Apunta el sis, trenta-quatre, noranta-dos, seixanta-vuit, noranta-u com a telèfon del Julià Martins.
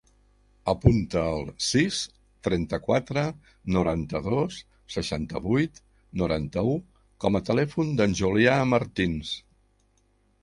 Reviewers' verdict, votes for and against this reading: accepted, 5, 0